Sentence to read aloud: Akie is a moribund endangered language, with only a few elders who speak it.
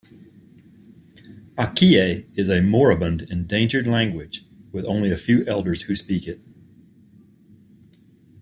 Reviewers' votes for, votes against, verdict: 2, 0, accepted